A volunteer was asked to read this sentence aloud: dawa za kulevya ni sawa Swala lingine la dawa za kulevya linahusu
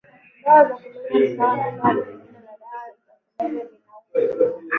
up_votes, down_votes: 0, 5